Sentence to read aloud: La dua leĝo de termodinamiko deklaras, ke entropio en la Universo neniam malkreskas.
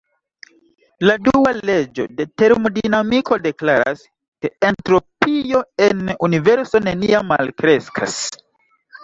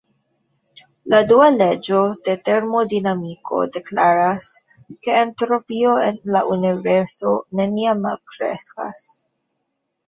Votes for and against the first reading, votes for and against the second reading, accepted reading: 1, 2, 2, 0, second